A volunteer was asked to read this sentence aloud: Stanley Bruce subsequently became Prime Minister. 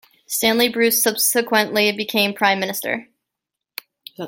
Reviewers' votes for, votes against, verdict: 2, 0, accepted